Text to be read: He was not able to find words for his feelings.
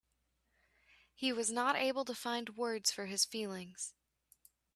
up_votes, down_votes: 3, 0